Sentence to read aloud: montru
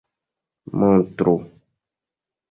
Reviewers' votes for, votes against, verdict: 2, 0, accepted